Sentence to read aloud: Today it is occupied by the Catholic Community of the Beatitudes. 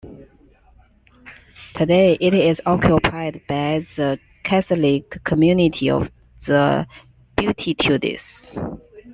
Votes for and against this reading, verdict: 0, 2, rejected